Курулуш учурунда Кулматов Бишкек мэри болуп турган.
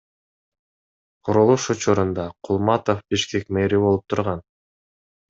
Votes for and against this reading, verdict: 2, 0, accepted